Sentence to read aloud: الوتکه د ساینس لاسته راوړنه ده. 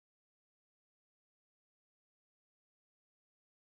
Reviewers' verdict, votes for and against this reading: rejected, 1, 2